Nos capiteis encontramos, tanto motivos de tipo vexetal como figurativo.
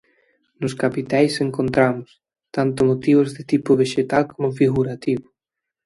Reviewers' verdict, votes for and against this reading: rejected, 0, 2